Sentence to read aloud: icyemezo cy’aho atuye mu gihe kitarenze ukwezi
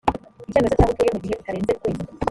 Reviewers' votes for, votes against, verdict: 0, 2, rejected